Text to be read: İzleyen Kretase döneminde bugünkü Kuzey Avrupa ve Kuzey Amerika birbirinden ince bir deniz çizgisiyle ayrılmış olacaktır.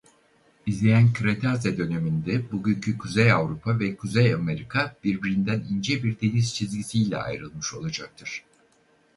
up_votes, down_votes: 2, 2